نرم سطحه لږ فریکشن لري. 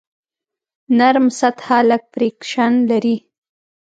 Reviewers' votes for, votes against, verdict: 2, 0, accepted